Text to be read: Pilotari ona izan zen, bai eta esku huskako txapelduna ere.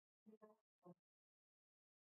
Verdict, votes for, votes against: rejected, 0, 2